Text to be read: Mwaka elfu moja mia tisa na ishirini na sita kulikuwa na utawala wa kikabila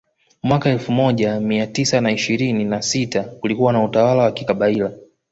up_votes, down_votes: 2, 1